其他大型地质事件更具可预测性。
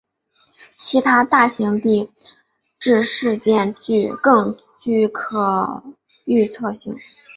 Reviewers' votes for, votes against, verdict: 3, 2, accepted